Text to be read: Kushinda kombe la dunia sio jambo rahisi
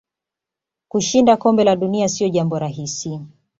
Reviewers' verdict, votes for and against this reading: accepted, 2, 0